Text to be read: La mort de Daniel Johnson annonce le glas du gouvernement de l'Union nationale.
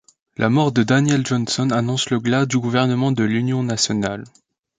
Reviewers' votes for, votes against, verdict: 2, 0, accepted